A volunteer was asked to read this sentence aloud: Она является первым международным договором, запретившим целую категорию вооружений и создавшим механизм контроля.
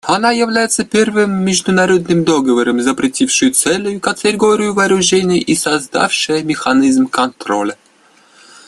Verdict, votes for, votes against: rejected, 0, 2